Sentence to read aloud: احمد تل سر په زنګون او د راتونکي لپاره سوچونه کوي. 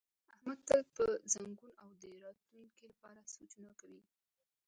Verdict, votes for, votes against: rejected, 0, 2